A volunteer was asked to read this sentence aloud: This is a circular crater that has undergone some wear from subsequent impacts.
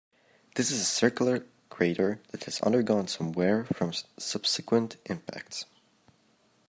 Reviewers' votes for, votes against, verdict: 2, 0, accepted